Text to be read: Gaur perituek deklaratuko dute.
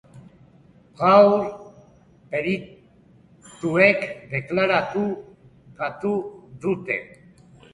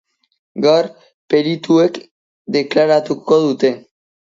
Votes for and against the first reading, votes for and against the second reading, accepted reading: 1, 2, 2, 1, second